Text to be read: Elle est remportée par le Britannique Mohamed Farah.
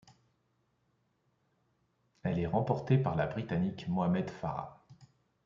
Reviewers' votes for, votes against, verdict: 0, 2, rejected